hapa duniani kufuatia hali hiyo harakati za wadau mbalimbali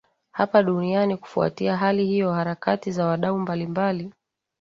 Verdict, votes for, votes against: accepted, 15, 1